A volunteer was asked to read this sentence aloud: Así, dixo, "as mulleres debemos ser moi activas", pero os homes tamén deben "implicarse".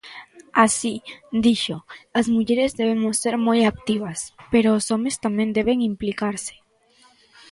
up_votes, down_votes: 2, 0